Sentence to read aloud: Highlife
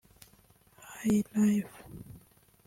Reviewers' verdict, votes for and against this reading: rejected, 0, 2